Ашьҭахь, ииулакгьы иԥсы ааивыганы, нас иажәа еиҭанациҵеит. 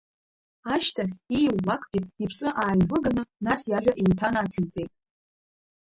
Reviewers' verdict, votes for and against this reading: rejected, 0, 2